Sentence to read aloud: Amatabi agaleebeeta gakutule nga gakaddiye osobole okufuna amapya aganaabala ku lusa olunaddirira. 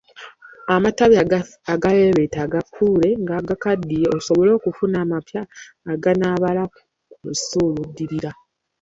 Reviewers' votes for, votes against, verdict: 0, 2, rejected